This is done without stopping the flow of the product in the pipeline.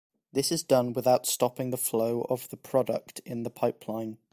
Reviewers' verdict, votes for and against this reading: accepted, 2, 0